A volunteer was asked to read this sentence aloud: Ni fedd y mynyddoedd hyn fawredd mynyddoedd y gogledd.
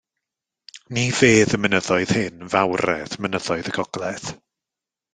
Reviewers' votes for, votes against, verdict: 2, 0, accepted